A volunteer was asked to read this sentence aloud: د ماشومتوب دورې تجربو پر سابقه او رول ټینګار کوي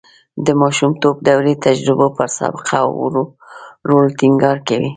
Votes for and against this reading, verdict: 2, 0, accepted